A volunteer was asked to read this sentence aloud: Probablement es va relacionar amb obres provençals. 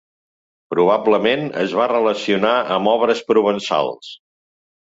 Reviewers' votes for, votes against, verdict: 3, 0, accepted